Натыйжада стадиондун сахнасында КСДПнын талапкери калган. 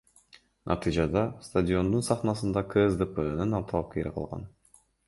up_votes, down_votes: 2, 0